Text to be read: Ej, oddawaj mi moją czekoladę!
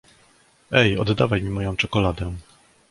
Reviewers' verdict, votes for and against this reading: accepted, 2, 0